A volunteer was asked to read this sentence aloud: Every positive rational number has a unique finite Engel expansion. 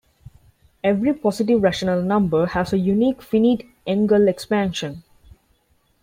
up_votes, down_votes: 2, 1